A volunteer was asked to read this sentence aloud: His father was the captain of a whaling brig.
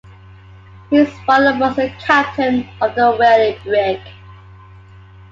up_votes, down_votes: 2, 1